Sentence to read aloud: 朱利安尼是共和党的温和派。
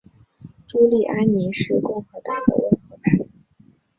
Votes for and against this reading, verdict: 1, 3, rejected